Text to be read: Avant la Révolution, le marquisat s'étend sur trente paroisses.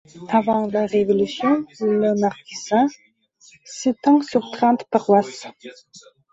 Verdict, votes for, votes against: rejected, 0, 2